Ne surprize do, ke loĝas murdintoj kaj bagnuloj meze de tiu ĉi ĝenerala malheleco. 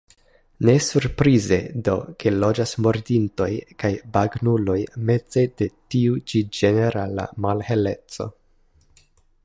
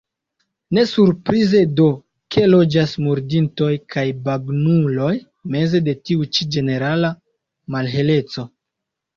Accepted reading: first